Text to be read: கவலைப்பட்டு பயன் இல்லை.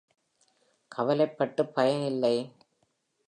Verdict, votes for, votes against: accepted, 2, 1